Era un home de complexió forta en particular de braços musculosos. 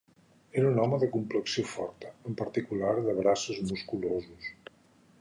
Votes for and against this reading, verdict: 3, 0, accepted